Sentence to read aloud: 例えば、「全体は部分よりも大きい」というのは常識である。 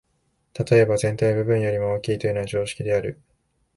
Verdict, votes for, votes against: accepted, 2, 0